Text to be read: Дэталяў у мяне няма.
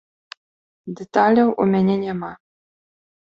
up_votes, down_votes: 2, 1